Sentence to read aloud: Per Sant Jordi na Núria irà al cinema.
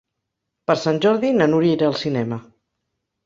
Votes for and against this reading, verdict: 3, 0, accepted